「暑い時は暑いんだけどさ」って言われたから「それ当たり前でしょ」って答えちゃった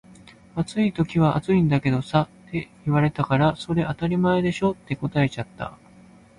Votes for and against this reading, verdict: 2, 0, accepted